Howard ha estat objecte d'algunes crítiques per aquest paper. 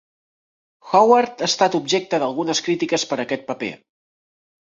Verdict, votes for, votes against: accepted, 3, 0